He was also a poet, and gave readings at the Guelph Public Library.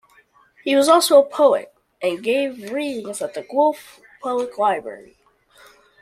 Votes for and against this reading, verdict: 2, 0, accepted